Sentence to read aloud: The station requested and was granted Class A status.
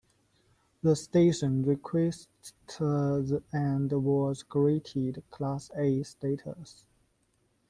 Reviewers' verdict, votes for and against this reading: accepted, 2, 0